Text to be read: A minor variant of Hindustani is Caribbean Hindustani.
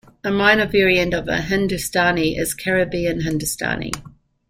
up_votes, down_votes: 2, 0